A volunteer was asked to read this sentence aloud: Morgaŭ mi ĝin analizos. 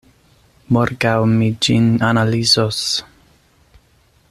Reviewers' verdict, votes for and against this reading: accepted, 2, 0